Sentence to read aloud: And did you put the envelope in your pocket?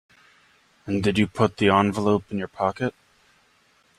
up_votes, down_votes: 2, 0